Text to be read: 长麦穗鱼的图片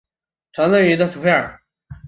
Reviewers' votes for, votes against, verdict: 1, 3, rejected